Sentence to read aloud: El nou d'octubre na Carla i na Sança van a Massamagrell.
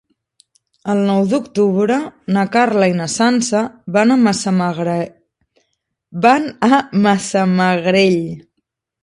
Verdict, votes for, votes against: rejected, 0, 2